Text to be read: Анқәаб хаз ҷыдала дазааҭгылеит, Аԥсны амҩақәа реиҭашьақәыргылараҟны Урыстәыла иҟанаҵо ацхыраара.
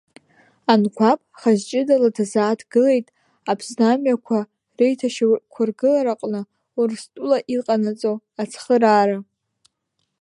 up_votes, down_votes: 0, 2